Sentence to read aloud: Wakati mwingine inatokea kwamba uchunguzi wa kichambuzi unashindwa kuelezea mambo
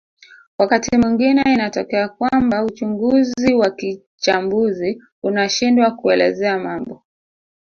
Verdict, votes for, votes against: rejected, 1, 2